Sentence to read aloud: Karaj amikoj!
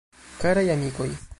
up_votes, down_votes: 1, 2